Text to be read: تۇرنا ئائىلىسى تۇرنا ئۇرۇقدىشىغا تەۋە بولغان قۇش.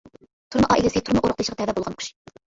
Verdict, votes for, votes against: rejected, 0, 2